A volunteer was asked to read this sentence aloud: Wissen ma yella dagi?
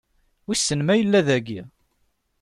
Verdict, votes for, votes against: accepted, 2, 0